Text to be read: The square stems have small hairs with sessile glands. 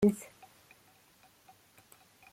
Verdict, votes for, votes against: rejected, 1, 2